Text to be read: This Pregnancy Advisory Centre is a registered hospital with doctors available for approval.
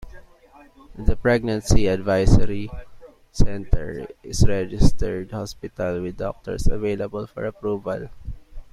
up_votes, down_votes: 1, 2